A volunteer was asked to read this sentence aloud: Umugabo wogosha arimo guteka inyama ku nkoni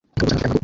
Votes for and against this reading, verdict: 0, 2, rejected